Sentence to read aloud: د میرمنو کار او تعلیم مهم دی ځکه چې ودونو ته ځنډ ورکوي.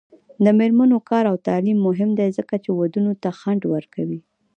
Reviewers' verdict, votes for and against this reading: accepted, 2, 0